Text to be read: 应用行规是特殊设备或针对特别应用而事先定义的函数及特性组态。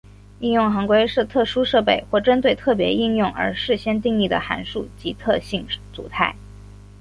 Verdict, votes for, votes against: accepted, 3, 1